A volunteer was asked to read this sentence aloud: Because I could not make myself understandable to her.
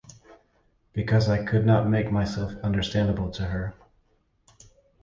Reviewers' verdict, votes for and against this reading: accepted, 2, 0